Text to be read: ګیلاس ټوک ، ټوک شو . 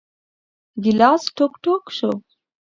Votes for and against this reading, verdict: 2, 0, accepted